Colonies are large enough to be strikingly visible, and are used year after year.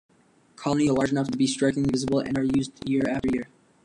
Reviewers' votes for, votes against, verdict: 1, 2, rejected